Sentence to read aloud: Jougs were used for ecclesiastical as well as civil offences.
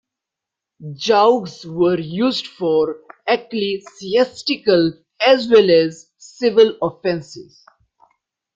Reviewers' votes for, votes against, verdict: 3, 0, accepted